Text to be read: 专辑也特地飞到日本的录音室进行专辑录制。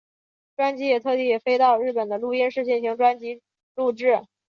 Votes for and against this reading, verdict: 5, 0, accepted